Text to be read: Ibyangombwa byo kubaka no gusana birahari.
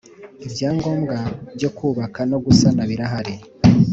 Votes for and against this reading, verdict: 2, 0, accepted